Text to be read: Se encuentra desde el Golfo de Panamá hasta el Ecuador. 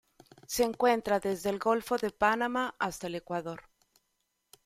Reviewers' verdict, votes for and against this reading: rejected, 0, 2